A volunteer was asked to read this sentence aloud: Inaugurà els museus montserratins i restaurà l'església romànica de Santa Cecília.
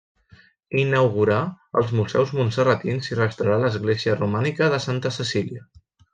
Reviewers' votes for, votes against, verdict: 1, 2, rejected